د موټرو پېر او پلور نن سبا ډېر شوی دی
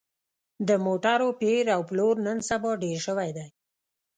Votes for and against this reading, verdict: 2, 0, accepted